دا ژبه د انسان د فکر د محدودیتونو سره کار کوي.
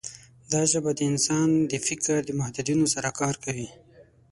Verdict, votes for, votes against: rejected, 3, 9